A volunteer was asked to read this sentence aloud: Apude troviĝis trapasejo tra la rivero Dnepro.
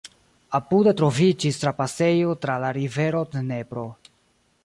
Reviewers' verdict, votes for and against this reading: accepted, 2, 1